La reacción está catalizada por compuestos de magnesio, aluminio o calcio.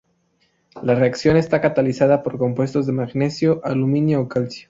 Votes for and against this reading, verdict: 4, 0, accepted